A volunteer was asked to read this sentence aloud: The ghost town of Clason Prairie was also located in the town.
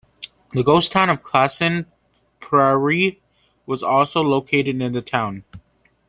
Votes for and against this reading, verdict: 2, 1, accepted